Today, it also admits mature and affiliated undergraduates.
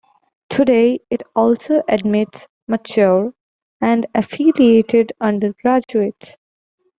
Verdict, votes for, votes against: accepted, 2, 0